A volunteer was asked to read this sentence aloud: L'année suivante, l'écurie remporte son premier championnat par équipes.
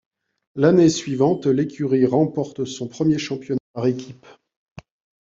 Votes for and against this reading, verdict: 2, 0, accepted